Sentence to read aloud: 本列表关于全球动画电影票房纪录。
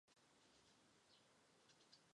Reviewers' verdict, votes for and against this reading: rejected, 0, 3